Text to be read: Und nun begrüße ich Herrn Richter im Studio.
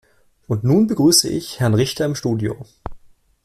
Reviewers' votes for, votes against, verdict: 2, 1, accepted